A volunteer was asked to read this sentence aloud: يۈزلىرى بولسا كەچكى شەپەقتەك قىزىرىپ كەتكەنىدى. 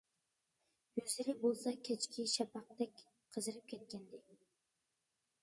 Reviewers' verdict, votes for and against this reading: accepted, 2, 1